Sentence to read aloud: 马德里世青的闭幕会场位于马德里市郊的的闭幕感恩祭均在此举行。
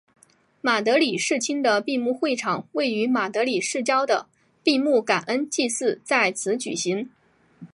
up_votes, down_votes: 1, 2